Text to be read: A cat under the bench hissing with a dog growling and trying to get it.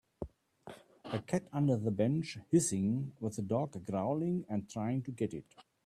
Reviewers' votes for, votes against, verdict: 2, 0, accepted